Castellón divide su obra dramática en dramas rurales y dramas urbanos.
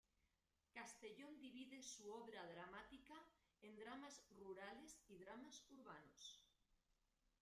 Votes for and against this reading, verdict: 1, 2, rejected